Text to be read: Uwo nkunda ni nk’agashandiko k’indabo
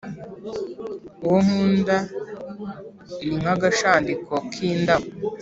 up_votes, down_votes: 2, 1